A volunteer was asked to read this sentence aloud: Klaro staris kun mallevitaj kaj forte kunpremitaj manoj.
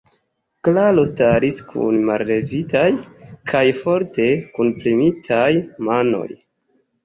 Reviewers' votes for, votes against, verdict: 2, 0, accepted